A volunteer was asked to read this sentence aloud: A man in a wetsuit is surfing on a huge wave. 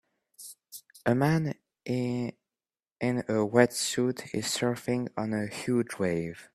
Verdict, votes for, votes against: rejected, 1, 2